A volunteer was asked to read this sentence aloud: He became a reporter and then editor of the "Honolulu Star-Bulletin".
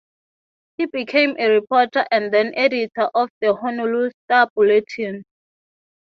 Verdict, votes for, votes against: accepted, 3, 0